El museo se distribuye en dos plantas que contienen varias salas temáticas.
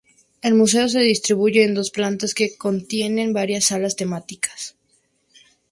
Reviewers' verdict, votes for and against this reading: accepted, 2, 0